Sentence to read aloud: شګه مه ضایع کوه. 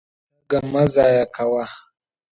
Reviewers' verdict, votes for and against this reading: rejected, 0, 2